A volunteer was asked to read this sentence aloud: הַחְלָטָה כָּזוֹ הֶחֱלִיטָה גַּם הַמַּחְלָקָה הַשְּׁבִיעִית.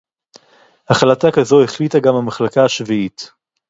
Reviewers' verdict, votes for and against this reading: rejected, 2, 2